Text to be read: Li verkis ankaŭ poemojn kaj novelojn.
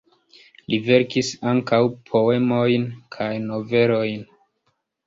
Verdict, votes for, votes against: accepted, 2, 0